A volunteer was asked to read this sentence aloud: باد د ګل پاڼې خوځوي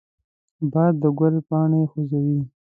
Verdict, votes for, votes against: accepted, 2, 0